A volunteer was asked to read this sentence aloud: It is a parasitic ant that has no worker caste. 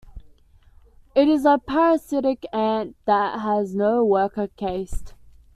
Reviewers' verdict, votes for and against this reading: rejected, 1, 2